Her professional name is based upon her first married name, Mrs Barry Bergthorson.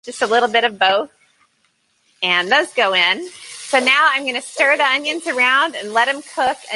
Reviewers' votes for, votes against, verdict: 0, 2, rejected